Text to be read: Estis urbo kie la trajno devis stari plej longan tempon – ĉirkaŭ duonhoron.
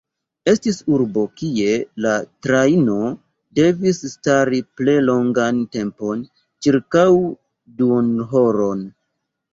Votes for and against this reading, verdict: 1, 3, rejected